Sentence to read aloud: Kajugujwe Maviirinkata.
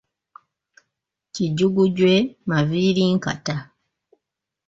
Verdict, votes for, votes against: rejected, 0, 2